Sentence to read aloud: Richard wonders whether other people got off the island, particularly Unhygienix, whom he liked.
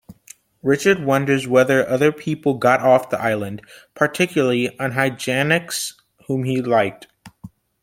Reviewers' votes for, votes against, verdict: 2, 0, accepted